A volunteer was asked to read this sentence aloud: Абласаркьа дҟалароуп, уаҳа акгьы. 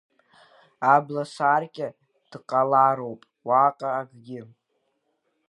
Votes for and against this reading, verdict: 0, 2, rejected